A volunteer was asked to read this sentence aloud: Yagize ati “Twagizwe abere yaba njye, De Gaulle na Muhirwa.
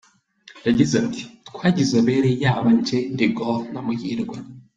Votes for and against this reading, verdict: 2, 0, accepted